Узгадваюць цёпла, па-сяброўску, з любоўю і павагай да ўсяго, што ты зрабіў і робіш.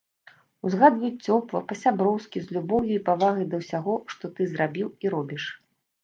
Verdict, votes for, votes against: rejected, 1, 2